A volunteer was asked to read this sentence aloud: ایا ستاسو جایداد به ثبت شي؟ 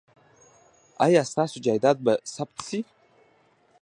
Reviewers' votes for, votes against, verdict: 0, 2, rejected